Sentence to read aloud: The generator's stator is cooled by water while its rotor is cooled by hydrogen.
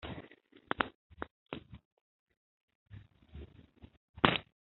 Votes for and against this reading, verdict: 0, 2, rejected